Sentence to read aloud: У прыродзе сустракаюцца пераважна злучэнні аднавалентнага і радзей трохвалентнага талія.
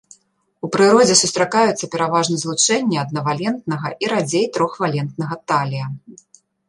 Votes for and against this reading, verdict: 2, 0, accepted